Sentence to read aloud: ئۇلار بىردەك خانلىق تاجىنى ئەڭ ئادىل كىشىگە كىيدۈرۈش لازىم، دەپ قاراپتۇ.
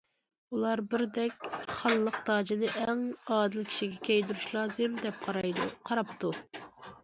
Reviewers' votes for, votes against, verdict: 0, 2, rejected